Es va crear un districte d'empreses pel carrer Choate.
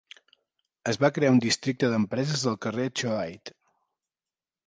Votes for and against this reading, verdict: 2, 0, accepted